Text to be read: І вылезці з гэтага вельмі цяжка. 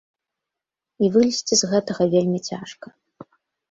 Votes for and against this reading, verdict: 2, 0, accepted